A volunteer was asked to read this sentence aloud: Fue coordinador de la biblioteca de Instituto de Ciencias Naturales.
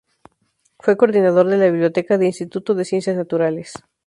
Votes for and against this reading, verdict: 2, 0, accepted